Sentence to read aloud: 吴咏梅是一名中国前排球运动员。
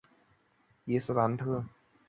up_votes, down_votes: 0, 2